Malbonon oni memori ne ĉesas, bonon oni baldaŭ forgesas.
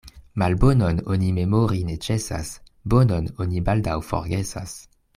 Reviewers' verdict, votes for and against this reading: accepted, 2, 0